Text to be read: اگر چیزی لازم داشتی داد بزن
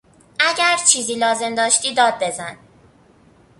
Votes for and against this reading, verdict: 2, 0, accepted